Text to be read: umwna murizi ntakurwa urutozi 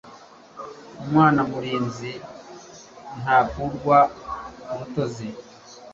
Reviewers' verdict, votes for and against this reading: rejected, 1, 2